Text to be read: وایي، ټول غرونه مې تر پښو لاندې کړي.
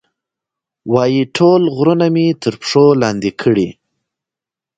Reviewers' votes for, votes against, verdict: 2, 0, accepted